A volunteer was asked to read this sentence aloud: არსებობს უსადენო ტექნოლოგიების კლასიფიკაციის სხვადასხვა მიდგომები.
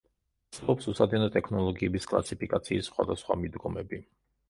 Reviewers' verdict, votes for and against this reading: rejected, 0, 2